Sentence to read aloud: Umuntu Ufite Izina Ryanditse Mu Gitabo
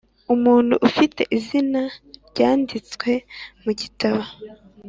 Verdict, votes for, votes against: accepted, 2, 1